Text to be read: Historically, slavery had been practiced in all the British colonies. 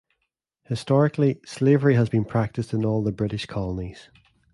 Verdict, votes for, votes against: rejected, 1, 2